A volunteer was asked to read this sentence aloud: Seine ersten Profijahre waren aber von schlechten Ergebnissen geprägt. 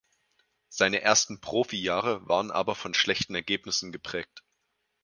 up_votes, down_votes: 2, 2